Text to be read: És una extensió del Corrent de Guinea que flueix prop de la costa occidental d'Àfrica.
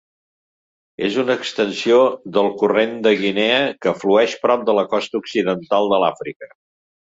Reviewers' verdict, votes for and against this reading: rejected, 1, 2